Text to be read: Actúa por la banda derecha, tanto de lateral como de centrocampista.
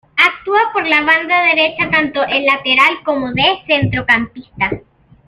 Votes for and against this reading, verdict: 0, 2, rejected